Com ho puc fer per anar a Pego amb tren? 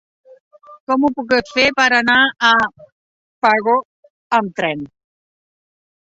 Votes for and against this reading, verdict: 0, 2, rejected